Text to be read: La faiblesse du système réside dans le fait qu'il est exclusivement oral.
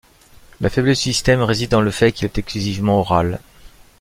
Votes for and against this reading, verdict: 1, 2, rejected